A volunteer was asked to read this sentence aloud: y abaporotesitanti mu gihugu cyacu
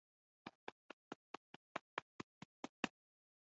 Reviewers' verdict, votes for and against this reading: rejected, 0, 2